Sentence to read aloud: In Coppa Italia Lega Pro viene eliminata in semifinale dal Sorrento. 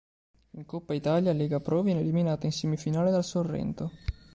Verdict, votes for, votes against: accepted, 3, 0